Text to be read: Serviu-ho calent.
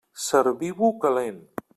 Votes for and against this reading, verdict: 0, 2, rejected